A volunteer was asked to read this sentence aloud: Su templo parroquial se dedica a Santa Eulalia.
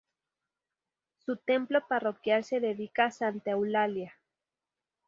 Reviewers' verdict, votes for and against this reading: rejected, 0, 2